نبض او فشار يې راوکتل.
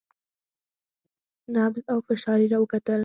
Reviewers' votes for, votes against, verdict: 0, 4, rejected